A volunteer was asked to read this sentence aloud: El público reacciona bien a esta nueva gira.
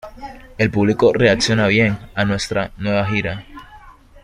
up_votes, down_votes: 0, 2